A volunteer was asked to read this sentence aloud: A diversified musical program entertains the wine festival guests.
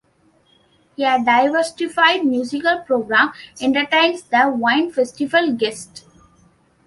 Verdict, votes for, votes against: rejected, 0, 2